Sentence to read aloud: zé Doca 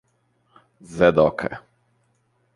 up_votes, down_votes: 2, 0